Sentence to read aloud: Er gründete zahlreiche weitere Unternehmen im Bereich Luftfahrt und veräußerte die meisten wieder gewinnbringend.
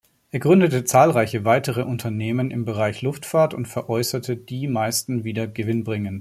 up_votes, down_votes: 1, 2